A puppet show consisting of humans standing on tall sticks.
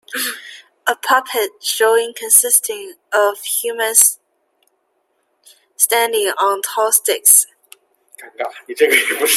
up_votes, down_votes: 0, 2